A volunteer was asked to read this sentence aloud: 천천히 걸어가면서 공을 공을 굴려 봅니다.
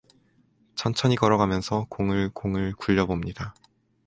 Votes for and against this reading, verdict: 4, 0, accepted